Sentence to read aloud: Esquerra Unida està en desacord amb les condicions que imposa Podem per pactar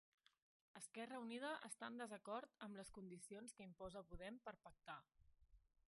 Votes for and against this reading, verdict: 0, 2, rejected